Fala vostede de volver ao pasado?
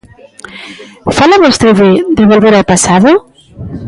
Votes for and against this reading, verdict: 2, 0, accepted